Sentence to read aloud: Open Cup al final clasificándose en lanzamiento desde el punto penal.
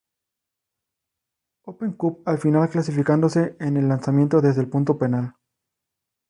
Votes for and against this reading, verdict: 2, 2, rejected